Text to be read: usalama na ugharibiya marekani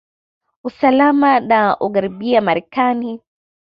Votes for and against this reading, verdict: 2, 0, accepted